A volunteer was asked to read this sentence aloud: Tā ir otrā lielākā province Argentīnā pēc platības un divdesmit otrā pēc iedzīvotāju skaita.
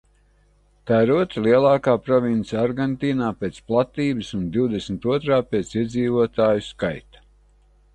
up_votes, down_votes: 2, 0